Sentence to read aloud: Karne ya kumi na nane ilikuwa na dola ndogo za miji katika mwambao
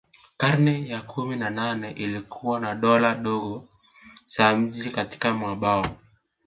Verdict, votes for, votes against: rejected, 0, 2